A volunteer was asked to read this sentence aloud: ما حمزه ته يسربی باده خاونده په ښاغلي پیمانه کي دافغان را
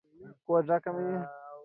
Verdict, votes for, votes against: rejected, 0, 2